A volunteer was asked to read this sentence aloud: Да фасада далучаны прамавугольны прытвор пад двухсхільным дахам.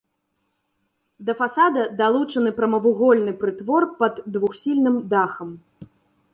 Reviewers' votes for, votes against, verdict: 1, 2, rejected